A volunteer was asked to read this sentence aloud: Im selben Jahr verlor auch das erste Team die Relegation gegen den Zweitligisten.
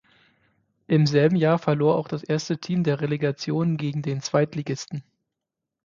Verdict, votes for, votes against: rejected, 3, 6